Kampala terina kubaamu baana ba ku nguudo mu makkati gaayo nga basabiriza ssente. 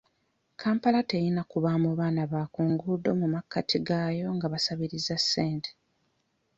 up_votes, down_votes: 2, 1